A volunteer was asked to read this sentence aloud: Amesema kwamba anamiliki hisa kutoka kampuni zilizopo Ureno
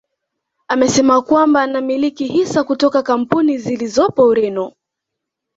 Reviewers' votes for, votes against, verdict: 2, 0, accepted